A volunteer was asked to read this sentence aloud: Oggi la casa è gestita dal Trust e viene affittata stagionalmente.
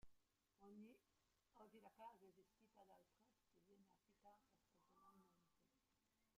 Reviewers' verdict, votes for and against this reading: rejected, 0, 2